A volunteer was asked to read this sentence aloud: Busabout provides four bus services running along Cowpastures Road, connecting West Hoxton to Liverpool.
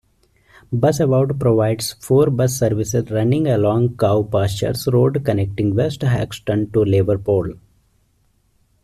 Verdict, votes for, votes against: rejected, 1, 2